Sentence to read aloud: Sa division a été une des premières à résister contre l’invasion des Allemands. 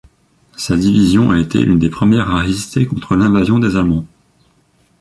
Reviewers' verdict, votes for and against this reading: rejected, 0, 2